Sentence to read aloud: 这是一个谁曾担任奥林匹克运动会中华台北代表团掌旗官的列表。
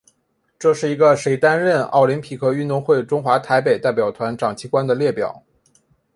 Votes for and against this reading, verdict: 3, 0, accepted